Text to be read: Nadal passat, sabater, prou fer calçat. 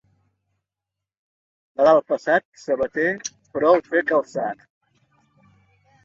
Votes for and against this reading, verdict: 2, 0, accepted